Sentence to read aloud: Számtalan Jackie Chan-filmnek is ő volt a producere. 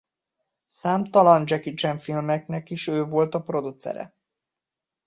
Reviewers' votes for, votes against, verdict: 1, 2, rejected